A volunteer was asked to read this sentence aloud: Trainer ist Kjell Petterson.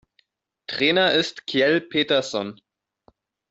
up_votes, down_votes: 2, 0